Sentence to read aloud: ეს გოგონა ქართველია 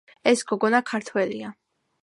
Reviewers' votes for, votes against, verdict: 2, 0, accepted